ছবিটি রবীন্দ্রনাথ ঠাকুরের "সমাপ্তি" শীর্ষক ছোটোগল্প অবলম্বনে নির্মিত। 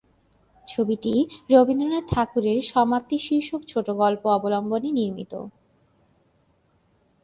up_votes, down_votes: 3, 1